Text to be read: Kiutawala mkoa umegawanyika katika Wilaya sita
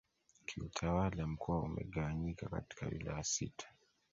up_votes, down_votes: 1, 2